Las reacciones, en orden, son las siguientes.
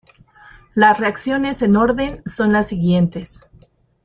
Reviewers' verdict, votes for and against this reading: accepted, 4, 2